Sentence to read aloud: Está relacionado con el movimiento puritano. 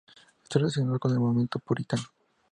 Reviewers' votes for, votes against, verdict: 2, 0, accepted